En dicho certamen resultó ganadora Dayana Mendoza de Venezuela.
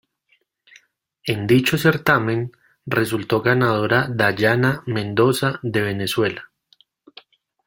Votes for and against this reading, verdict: 2, 0, accepted